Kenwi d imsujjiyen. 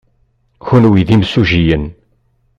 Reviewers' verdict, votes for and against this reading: rejected, 1, 2